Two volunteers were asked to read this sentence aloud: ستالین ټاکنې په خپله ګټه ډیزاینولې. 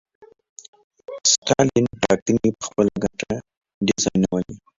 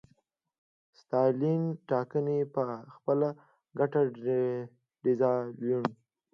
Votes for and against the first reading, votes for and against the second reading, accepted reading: 0, 2, 2, 0, second